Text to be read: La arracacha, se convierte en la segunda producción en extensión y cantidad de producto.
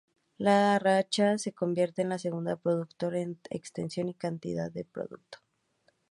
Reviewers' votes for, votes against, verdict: 0, 2, rejected